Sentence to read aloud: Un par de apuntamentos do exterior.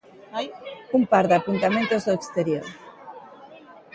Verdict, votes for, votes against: accepted, 2, 0